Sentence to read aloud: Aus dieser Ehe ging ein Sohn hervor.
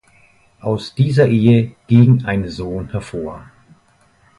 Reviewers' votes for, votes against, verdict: 2, 0, accepted